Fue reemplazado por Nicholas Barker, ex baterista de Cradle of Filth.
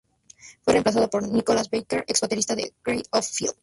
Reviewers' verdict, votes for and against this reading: rejected, 0, 2